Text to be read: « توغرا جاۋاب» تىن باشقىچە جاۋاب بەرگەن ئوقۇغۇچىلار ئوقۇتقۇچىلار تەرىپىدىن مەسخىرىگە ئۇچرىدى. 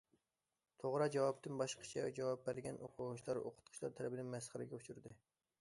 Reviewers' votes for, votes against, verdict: 2, 0, accepted